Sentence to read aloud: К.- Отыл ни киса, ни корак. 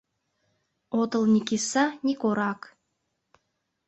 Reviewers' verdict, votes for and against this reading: rejected, 1, 2